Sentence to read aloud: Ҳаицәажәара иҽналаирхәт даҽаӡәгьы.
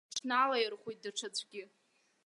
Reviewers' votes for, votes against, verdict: 0, 2, rejected